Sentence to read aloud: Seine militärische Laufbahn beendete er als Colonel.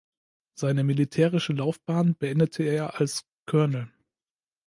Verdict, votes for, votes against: rejected, 1, 2